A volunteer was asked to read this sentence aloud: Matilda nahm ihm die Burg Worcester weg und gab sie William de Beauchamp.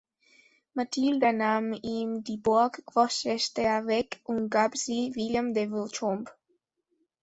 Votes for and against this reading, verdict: 1, 2, rejected